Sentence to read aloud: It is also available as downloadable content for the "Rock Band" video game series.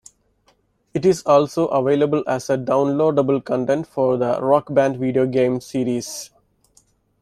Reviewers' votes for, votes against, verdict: 0, 2, rejected